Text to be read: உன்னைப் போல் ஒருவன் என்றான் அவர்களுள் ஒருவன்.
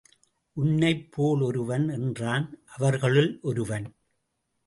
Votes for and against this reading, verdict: 2, 0, accepted